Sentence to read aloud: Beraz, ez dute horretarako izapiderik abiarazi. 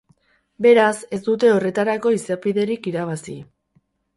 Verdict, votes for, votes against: rejected, 2, 4